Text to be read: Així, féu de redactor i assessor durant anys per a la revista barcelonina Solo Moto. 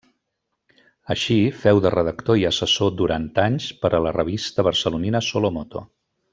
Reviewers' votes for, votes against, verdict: 2, 0, accepted